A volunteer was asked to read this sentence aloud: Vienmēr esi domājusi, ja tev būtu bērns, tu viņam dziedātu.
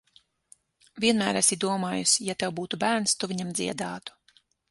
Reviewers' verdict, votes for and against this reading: accepted, 6, 0